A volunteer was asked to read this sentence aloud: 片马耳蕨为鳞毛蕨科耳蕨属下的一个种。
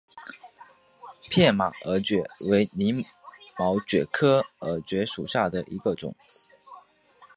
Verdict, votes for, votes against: accepted, 3, 0